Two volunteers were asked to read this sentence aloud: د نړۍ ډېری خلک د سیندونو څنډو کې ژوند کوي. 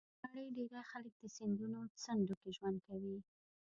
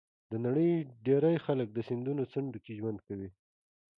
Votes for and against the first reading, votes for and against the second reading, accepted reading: 0, 2, 2, 0, second